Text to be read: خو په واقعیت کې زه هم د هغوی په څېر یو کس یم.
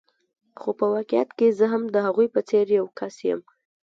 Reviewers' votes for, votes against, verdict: 1, 2, rejected